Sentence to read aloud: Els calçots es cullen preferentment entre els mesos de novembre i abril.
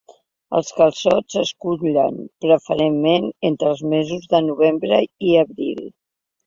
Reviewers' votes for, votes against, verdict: 0, 2, rejected